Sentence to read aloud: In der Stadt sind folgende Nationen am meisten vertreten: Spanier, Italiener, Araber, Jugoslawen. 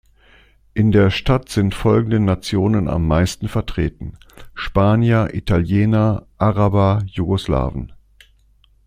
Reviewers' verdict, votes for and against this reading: accepted, 2, 0